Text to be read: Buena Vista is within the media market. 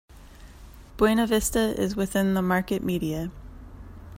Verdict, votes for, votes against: rejected, 0, 2